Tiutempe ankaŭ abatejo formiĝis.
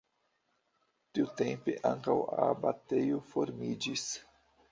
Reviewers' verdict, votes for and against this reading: accepted, 2, 0